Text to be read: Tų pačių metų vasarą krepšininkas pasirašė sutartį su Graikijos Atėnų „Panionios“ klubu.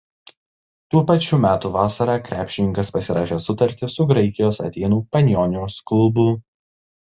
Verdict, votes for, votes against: accepted, 2, 0